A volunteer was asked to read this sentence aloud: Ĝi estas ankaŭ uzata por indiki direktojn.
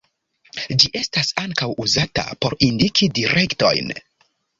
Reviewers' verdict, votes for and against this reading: accepted, 2, 1